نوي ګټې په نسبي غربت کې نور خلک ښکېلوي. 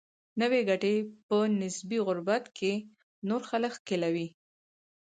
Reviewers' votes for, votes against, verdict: 2, 4, rejected